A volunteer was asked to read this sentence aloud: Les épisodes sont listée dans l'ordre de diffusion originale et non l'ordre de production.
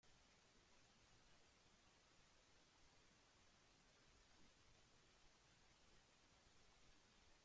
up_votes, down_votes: 0, 2